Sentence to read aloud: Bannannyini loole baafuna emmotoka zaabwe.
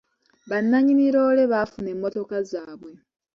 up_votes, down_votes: 2, 0